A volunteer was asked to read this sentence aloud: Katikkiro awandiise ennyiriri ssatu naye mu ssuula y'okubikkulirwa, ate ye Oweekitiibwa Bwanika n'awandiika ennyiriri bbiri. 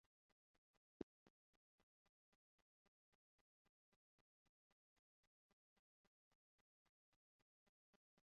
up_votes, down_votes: 0, 2